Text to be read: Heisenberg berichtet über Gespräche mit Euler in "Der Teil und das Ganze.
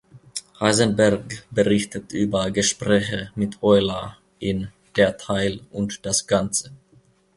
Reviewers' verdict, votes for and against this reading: accepted, 2, 0